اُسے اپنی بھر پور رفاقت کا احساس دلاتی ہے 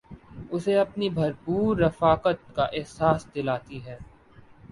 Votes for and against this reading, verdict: 2, 0, accepted